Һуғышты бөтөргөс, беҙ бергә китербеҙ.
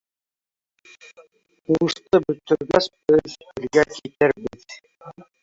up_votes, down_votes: 0, 2